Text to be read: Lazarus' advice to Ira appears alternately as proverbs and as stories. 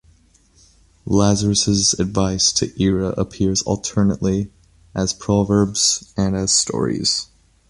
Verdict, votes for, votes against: accepted, 2, 0